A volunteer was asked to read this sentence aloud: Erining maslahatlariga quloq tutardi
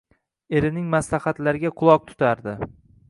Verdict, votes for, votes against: accepted, 2, 0